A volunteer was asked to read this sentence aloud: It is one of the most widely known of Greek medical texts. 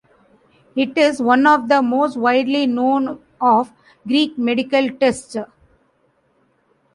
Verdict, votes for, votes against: rejected, 1, 2